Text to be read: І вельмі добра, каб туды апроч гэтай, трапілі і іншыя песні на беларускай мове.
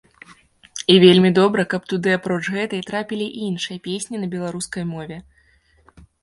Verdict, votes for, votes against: accepted, 2, 0